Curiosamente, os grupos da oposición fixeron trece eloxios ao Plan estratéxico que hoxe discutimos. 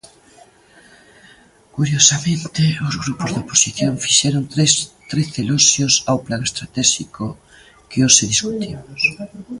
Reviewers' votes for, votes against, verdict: 0, 2, rejected